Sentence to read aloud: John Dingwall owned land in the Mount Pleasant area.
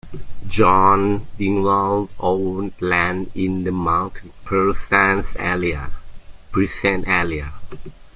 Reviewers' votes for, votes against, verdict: 0, 2, rejected